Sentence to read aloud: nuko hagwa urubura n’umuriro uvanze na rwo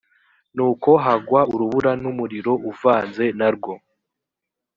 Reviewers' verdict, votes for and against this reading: accepted, 2, 0